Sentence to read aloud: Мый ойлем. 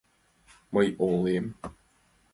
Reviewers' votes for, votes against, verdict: 2, 1, accepted